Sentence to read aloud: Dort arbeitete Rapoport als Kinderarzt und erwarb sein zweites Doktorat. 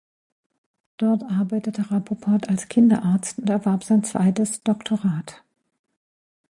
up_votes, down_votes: 1, 2